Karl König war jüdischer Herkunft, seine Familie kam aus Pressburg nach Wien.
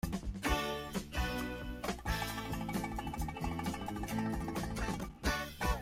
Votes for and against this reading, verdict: 0, 2, rejected